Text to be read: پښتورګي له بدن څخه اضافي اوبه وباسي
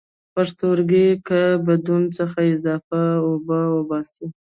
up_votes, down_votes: 1, 2